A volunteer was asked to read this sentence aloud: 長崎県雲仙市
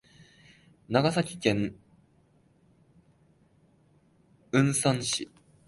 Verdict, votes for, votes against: rejected, 0, 2